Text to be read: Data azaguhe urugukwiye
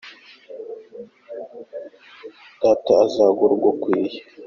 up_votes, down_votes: 2, 1